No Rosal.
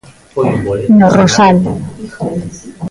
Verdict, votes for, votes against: accepted, 2, 0